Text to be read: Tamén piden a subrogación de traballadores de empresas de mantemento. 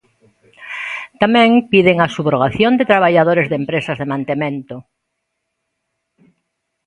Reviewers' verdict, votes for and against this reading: accepted, 2, 0